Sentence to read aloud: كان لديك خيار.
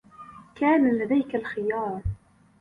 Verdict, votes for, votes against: rejected, 0, 2